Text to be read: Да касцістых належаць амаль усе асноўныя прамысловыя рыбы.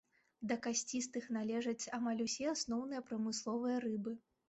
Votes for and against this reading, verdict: 2, 0, accepted